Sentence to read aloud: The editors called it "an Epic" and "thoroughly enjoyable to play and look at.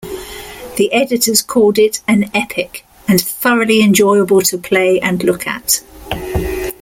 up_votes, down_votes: 2, 0